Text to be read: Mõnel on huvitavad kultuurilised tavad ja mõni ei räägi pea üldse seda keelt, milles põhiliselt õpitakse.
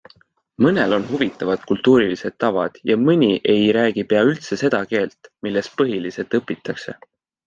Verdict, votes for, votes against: accepted, 2, 0